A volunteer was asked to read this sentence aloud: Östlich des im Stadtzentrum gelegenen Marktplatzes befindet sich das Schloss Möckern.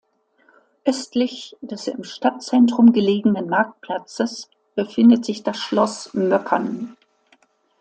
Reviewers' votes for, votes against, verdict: 2, 0, accepted